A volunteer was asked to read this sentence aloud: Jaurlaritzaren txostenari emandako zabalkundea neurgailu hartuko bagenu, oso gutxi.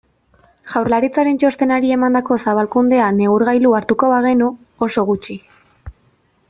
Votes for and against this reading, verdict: 2, 0, accepted